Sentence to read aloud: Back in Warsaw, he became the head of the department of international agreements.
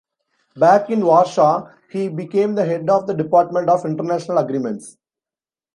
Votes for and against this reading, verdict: 2, 0, accepted